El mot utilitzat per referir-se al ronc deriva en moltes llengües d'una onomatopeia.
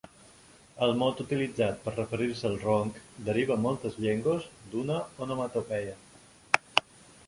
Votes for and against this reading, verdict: 2, 0, accepted